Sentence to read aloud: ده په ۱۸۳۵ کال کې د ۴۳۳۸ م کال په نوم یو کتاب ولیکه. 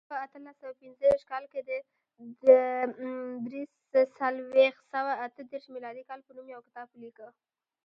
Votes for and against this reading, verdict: 0, 2, rejected